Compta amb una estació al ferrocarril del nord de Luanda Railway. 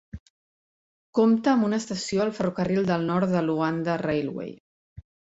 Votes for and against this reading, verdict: 3, 0, accepted